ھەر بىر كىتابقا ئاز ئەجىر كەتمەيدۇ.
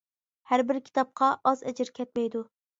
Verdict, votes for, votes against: accepted, 2, 0